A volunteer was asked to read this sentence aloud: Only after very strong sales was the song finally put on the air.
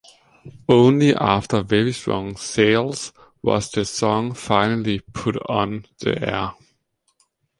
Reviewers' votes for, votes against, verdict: 2, 0, accepted